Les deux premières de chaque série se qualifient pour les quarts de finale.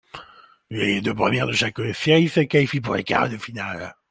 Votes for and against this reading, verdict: 0, 2, rejected